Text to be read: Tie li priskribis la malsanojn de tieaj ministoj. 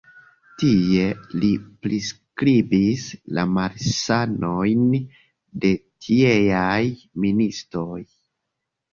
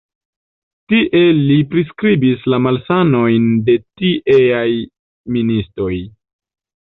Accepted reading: first